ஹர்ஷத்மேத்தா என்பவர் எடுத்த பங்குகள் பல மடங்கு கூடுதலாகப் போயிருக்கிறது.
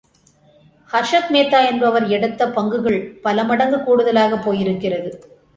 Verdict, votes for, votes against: accepted, 2, 0